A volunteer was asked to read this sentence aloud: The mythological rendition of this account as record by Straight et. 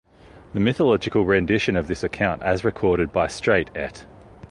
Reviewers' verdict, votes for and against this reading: rejected, 1, 2